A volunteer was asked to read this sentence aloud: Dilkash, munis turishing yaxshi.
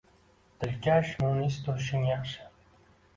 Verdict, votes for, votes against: accepted, 2, 0